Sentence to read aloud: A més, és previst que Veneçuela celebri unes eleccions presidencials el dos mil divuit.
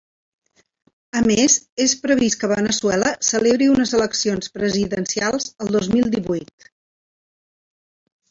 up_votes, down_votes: 2, 0